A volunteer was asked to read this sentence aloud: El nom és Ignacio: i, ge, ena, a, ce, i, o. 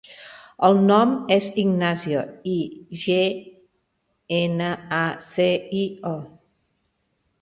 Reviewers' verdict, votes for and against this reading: rejected, 1, 2